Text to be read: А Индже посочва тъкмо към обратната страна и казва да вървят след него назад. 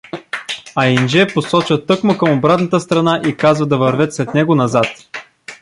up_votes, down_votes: 0, 2